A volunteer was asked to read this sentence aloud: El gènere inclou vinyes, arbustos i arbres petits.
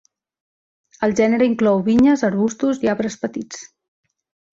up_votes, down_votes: 3, 0